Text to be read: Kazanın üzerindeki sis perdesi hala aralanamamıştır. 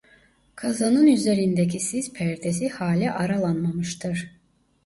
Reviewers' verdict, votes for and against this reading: rejected, 0, 2